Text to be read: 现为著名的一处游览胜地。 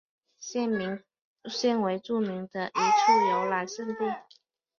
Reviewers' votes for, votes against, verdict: 1, 4, rejected